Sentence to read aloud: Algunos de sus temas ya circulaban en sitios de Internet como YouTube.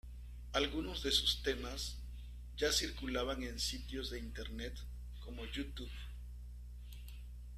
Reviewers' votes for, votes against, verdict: 1, 2, rejected